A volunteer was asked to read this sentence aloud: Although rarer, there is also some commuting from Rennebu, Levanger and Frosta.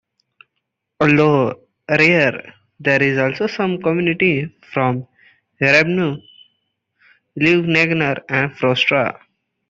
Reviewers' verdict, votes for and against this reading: rejected, 0, 2